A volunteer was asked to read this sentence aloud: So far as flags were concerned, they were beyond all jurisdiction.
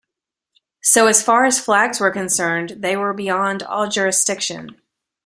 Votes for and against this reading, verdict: 2, 3, rejected